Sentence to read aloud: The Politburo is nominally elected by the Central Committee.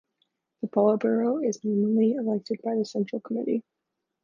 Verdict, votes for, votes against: rejected, 1, 2